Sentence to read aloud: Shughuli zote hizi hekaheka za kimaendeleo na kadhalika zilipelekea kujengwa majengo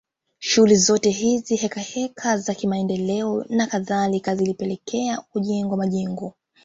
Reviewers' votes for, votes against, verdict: 1, 2, rejected